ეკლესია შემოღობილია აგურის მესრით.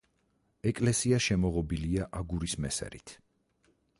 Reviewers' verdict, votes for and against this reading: rejected, 2, 4